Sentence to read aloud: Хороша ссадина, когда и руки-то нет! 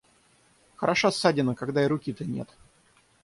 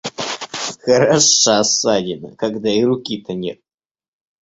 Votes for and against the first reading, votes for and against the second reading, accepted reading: 0, 3, 2, 1, second